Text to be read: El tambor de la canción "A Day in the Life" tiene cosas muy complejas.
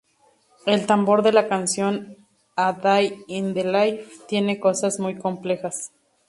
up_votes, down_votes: 2, 0